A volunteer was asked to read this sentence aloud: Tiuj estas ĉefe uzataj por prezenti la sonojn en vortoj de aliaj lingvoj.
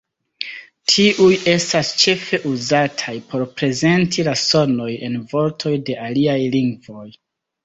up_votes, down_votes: 0, 2